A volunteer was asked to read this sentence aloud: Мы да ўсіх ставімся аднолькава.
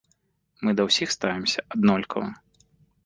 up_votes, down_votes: 2, 0